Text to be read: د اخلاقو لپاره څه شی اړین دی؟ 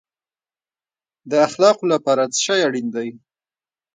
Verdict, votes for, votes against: rejected, 1, 2